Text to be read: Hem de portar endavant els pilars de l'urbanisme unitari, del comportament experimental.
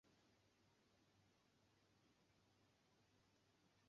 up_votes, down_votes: 1, 2